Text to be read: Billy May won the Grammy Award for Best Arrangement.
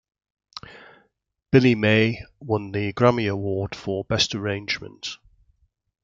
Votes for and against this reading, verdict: 2, 0, accepted